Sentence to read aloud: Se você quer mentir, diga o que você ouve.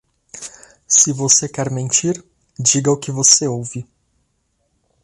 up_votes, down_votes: 2, 0